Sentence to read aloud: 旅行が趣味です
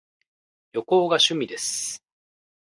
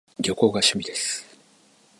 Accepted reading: first